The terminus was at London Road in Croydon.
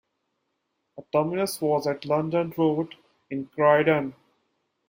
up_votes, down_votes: 2, 0